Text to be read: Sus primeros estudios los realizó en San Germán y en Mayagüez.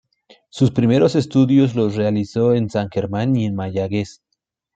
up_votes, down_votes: 2, 1